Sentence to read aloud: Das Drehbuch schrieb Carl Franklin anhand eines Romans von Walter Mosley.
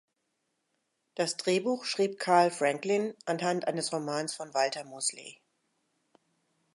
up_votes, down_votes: 2, 0